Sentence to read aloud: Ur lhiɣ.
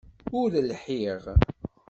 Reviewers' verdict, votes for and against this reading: accepted, 2, 0